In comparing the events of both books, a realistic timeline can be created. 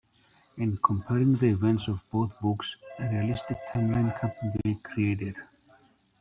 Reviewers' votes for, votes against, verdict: 1, 2, rejected